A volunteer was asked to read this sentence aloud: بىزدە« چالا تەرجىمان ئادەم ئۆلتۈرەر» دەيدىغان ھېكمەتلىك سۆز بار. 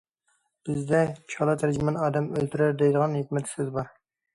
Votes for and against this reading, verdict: 1, 2, rejected